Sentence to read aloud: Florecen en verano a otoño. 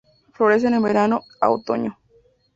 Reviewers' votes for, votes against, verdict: 2, 0, accepted